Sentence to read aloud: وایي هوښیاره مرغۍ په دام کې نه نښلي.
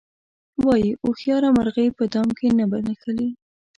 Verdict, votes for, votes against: rejected, 0, 2